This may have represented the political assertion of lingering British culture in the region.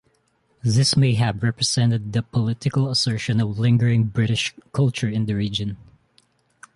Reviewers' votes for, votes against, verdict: 2, 0, accepted